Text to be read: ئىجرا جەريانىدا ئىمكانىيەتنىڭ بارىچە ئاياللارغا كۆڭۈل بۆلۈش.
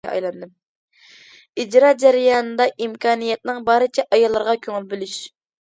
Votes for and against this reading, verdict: 2, 0, accepted